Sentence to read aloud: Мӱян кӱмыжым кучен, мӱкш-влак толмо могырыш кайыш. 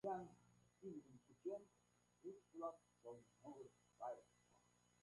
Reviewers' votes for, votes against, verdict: 0, 2, rejected